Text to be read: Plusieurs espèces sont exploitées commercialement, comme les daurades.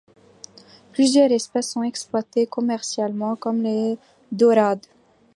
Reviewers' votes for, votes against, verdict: 2, 0, accepted